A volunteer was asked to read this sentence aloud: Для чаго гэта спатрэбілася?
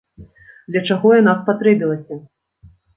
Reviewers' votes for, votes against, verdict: 0, 2, rejected